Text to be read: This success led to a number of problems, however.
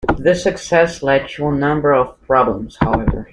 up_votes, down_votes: 2, 0